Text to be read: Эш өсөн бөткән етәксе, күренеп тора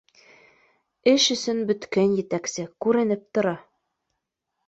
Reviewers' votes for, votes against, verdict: 2, 0, accepted